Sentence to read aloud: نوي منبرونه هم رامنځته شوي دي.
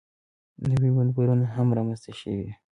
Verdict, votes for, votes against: accepted, 2, 1